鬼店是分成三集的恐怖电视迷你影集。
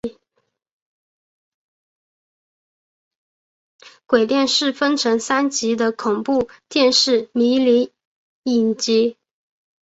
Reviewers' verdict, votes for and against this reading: rejected, 1, 2